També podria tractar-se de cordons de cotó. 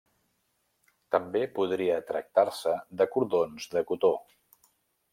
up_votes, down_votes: 3, 0